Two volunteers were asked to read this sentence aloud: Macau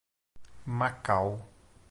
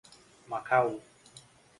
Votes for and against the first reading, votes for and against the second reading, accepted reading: 2, 0, 1, 2, first